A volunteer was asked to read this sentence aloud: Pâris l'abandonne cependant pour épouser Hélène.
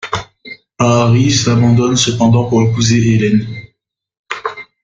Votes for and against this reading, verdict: 0, 2, rejected